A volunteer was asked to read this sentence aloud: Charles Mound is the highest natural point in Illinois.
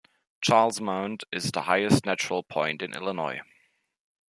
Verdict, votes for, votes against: accepted, 2, 0